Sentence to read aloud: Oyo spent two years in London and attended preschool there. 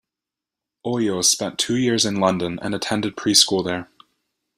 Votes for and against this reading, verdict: 2, 0, accepted